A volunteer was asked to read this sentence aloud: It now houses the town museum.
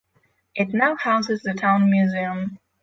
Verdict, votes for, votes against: accepted, 6, 0